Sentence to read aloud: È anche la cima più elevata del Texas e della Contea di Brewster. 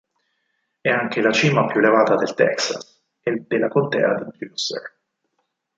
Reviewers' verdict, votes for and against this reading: rejected, 2, 4